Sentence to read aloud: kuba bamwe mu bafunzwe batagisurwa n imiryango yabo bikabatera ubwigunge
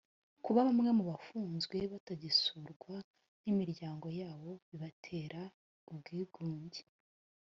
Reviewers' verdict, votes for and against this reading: accepted, 2, 0